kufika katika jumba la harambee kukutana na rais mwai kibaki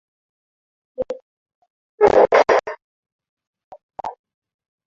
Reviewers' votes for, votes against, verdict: 0, 2, rejected